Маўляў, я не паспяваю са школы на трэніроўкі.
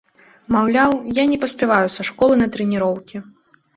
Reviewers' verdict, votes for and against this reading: accepted, 2, 0